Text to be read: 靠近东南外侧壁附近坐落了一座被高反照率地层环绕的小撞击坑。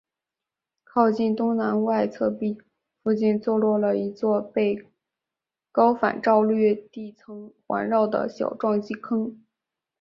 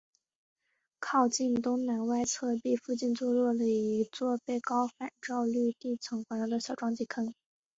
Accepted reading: second